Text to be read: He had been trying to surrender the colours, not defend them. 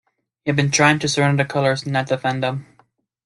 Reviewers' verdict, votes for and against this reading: accepted, 2, 0